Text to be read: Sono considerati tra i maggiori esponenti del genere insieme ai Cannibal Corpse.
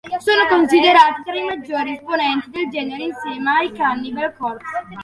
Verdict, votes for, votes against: rejected, 0, 2